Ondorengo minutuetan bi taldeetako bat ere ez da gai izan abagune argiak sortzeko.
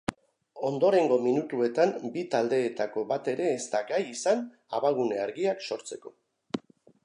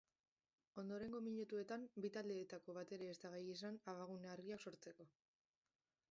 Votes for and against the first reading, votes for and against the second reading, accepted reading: 2, 0, 1, 2, first